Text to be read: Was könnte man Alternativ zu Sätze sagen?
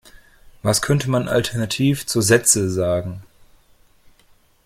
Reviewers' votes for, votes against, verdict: 2, 0, accepted